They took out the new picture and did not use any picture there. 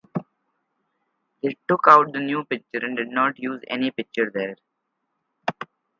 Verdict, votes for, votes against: accepted, 2, 0